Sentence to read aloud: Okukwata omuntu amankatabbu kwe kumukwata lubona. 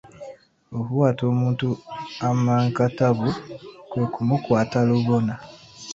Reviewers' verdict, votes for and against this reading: accepted, 2, 1